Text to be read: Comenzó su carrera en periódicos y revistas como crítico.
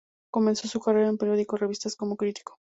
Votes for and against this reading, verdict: 0, 2, rejected